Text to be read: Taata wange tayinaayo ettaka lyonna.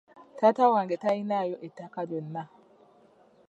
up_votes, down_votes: 2, 0